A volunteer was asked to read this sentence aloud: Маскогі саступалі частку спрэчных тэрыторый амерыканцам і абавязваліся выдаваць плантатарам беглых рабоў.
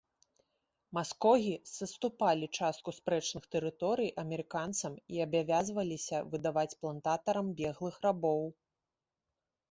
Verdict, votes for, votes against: accepted, 2, 0